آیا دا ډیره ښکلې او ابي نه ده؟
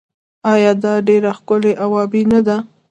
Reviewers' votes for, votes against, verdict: 2, 0, accepted